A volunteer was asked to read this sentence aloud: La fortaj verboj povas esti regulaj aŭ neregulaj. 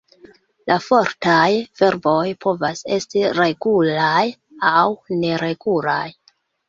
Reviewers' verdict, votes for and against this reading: rejected, 2, 3